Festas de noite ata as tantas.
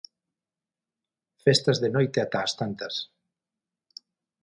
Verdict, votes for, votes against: accepted, 6, 0